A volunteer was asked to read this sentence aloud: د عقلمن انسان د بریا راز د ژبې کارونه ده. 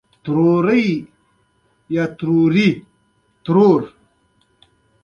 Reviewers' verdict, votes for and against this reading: rejected, 1, 2